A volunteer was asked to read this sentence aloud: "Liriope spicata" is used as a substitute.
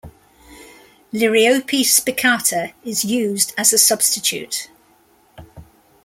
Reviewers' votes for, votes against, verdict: 0, 2, rejected